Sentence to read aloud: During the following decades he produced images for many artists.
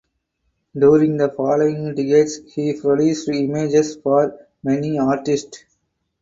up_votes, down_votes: 2, 0